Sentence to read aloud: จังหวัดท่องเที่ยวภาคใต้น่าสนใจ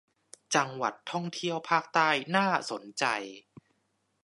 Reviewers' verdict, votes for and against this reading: accepted, 2, 0